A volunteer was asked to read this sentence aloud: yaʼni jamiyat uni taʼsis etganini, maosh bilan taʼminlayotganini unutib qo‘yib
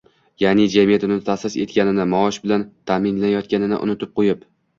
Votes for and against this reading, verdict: 1, 2, rejected